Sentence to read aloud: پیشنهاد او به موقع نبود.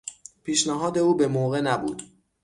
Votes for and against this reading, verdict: 6, 0, accepted